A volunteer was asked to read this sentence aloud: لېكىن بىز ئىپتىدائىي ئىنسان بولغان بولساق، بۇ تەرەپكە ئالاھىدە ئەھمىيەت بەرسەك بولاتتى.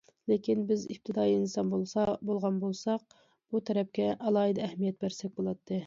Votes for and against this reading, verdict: 0, 2, rejected